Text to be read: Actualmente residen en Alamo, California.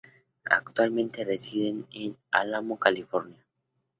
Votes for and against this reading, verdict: 2, 0, accepted